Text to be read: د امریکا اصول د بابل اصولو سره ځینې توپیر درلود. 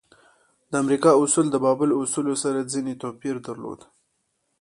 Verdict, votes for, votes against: accepted, 2, 0